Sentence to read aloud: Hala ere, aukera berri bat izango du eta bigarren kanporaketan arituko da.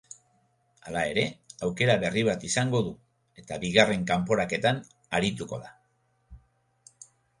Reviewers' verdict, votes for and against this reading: accepted, 3, 0